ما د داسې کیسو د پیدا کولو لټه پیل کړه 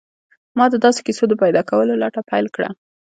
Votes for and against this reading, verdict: 2, 0, accepted